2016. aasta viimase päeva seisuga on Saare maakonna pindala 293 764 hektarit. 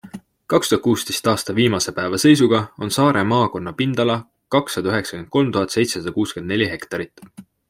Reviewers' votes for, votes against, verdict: 0, 2, rejected